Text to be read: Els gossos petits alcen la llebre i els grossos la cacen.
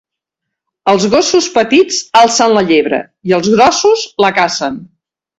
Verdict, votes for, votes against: accepted, 2, 1